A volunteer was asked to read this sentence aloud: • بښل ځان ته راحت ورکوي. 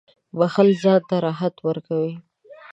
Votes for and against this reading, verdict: 2, 0, accepted